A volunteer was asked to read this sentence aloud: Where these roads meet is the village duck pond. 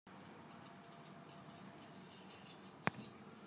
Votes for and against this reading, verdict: 0, 2, rejected